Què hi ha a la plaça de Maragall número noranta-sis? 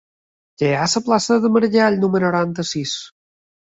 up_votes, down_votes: 2, 3